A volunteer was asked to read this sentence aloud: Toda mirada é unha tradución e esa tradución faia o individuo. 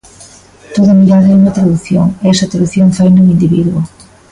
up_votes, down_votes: 0, 2